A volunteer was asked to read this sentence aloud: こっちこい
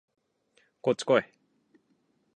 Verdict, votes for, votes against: accepted, 8, 2